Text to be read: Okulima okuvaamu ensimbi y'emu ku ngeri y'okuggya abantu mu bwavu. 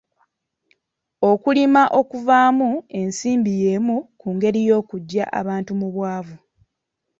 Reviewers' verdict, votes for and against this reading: accepted, 2, 0